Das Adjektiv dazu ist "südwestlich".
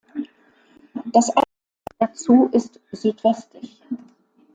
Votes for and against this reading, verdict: 0, 2, rejected